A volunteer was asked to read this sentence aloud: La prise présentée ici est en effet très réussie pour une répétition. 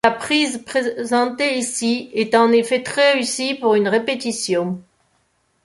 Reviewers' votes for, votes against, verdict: 1, 2, rejected